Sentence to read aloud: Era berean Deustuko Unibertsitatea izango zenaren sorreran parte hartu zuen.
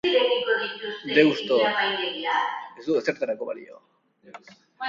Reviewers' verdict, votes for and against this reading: rejected, 0, 2